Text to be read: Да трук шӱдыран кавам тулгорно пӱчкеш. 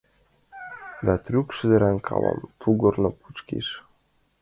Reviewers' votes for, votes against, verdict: 2, 1, accepted